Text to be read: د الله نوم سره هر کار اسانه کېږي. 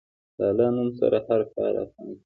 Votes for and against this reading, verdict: 1, 2, rejected